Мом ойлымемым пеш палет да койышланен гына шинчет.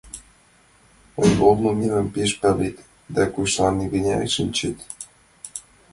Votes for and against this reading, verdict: 0, 2, rejected